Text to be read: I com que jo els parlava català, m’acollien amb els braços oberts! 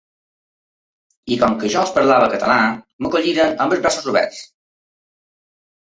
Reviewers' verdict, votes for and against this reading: rejected, 1, 2